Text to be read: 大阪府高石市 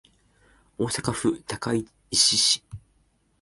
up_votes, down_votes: 2, 0